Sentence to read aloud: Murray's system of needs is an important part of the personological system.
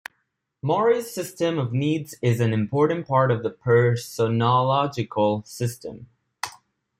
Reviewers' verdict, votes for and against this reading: rejected, 0, 2